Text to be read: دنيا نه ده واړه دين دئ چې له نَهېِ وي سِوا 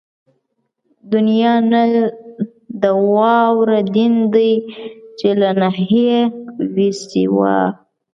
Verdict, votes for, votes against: rejected, 1, 2